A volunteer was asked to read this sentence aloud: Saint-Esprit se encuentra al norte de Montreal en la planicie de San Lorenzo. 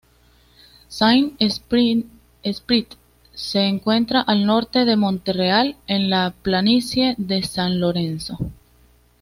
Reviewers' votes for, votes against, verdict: 1, 2, rejected